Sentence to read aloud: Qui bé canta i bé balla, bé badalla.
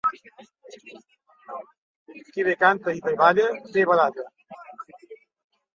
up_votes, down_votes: 0, 2